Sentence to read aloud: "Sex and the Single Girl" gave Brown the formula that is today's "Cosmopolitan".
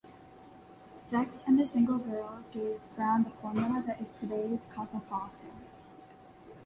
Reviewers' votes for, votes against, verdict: 0, 2, rejected